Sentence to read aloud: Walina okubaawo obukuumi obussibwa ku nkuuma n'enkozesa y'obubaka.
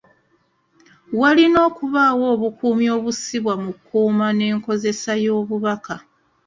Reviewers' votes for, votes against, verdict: 2, 0, accepted